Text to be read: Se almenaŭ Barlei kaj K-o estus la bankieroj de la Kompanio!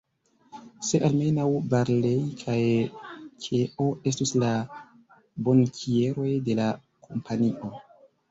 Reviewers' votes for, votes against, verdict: 1, 2, rejected